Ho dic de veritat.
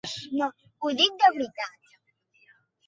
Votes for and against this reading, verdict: 2, 1, accepted